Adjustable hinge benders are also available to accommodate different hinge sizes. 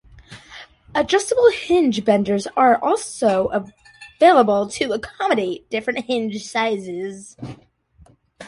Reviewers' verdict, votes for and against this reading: rejected, 2, 7